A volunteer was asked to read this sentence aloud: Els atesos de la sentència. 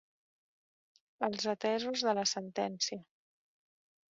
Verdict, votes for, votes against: rejected, 1, 2